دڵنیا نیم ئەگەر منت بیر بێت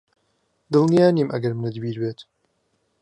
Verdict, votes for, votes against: accepted, 3, 0